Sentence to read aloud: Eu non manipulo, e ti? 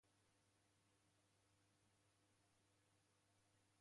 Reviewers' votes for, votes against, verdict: 0, 2, rejected